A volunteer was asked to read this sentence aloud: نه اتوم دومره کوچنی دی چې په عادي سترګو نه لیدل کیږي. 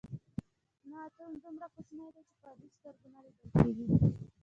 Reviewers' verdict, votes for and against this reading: rejected, 0, 2